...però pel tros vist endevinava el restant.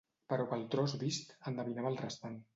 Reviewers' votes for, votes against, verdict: 2, 0, accepted